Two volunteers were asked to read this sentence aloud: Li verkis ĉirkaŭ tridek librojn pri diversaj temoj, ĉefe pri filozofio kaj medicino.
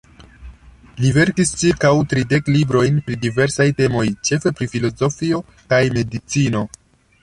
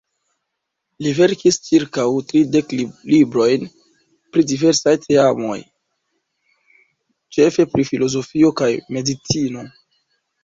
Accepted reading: first